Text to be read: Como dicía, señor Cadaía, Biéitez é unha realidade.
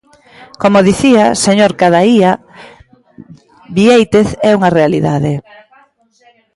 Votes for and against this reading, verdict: 2, 1, accepted